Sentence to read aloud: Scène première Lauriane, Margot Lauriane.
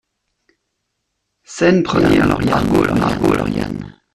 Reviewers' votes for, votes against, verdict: 0, 2, rejected